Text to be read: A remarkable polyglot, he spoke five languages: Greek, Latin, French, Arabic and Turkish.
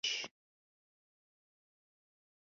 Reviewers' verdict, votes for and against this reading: rejected, 0, 2